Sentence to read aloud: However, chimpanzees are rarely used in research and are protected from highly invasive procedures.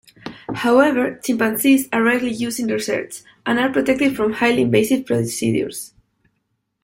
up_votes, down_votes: 1, 2